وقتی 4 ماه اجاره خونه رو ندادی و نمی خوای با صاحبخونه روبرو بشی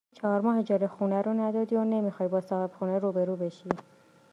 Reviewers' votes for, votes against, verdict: 0, 2, rejected